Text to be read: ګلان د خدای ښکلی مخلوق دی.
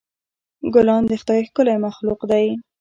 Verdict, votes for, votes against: accepted, 2, 0